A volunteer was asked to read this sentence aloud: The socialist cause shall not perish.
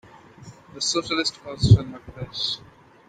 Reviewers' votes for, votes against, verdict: 2, 0, accepted